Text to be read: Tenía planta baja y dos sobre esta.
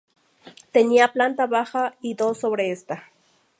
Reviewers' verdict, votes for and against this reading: accepted, 2, 0